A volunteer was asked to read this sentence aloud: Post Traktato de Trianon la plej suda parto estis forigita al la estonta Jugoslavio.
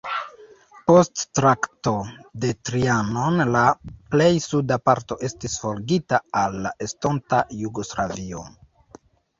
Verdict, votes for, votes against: rejected, 1, 2